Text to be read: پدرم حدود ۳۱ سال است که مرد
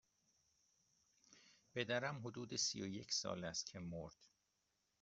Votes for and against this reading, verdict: 0, 2, rejected